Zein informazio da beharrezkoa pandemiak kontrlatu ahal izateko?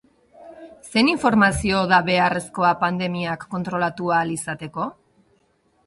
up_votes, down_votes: 2, 0